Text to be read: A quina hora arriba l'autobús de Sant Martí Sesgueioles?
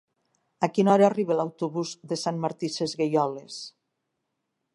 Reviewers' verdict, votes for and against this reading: accepted, 2, 0